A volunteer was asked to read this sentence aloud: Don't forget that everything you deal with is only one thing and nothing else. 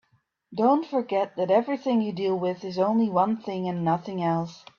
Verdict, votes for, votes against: accepted, 3, 0